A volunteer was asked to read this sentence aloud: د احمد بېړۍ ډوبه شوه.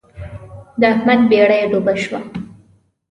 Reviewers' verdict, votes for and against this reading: accepted, 2, 0